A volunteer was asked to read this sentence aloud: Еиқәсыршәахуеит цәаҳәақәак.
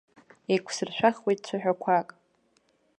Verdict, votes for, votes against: accepted, 2, 0